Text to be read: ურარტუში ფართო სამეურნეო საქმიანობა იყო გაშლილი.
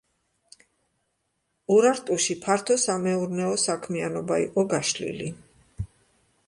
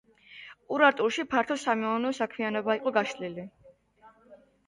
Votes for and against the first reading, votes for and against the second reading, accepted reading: 2, 0, 1, 2, first